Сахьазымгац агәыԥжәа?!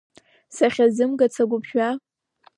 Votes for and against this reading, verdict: 2, 0, accepted